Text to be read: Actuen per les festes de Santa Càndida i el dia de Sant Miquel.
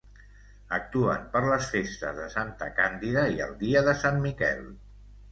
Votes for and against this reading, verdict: 2, 0, accepted